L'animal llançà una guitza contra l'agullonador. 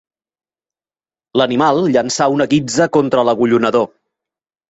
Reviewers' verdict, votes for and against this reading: accepted, 3, 0